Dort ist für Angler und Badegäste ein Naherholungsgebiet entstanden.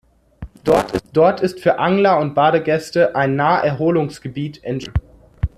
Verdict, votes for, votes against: rejected, 0, 2